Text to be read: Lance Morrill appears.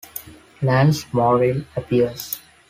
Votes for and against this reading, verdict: 2, 1, accepted